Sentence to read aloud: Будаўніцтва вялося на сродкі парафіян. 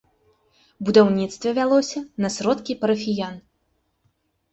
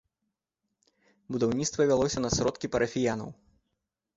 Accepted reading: first